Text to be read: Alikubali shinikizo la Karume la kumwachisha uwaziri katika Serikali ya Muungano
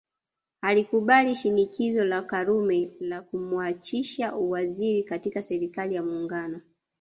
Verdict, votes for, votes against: rejected, 1, 2